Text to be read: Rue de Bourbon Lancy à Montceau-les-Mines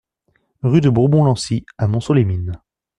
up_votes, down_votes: 2, 0